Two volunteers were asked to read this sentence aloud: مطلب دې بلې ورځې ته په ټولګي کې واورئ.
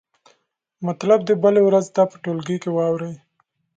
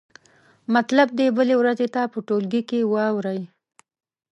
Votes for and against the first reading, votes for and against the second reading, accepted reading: 2, 0, 1, 2, first